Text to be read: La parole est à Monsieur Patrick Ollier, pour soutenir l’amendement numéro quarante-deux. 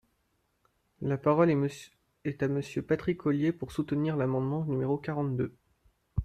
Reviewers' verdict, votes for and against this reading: rejected, 0, 2